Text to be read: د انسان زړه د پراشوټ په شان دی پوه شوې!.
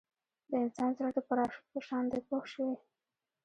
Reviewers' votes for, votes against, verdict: 2, 0, accepted